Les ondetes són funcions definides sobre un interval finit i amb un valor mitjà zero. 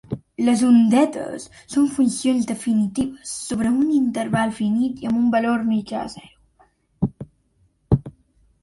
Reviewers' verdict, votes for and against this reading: rejected, 0, 2